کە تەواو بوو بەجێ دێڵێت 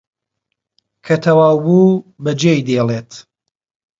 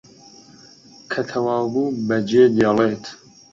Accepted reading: second